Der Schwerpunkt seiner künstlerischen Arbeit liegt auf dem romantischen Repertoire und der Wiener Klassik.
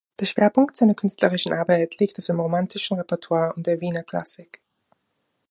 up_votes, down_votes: 1, 2